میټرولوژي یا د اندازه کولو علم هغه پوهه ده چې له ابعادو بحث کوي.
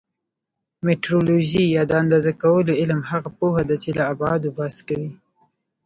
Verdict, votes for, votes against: accepted, 2, 0